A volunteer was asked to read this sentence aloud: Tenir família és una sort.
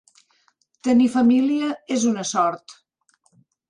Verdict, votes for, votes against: accepted, 3, 0